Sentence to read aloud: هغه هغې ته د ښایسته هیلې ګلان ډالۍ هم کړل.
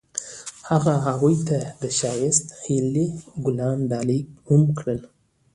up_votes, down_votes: 2, 0